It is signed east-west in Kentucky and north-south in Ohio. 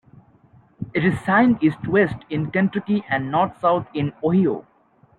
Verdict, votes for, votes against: accepted, 2, 1